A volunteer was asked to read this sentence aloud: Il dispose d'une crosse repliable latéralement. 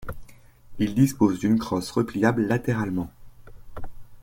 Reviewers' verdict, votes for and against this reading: accepted, 2, 0